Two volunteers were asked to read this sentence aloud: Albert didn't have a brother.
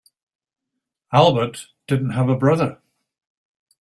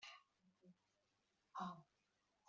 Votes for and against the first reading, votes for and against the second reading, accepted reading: 3, 0, 0, 3, first